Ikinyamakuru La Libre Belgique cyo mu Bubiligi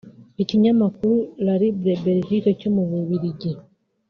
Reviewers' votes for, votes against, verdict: 2, 1, accepted